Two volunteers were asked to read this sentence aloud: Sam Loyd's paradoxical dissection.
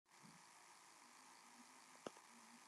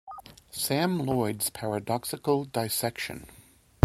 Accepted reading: second